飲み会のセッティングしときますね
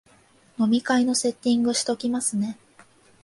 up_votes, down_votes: 2, 0